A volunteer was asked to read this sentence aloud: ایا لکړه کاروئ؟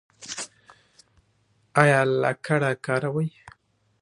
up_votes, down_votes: 2, 0